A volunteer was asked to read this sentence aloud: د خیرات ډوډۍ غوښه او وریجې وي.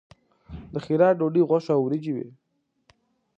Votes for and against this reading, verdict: 2, 0, accepted